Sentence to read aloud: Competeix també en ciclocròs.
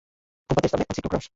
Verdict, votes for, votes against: accepted, 2, 1